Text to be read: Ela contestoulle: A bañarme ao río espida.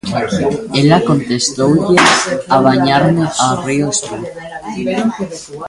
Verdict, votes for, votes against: rejected, 0, 2